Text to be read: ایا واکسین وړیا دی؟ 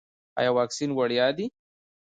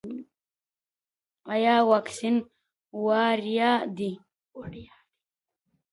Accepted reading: first